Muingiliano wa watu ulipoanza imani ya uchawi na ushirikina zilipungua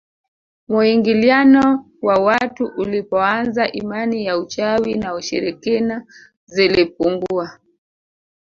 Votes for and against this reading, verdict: 0, 2, rejected